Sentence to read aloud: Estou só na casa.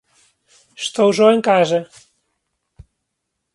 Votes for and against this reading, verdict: 0, 2, rejected